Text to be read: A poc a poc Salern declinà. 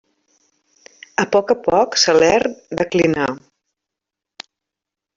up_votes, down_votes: 2, 1